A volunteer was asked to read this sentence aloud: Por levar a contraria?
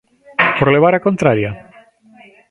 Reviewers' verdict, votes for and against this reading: rejected, 0, 2